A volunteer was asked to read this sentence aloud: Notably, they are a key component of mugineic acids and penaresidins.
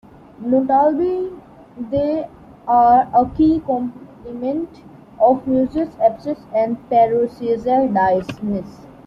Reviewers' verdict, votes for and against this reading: rejected, 0, 2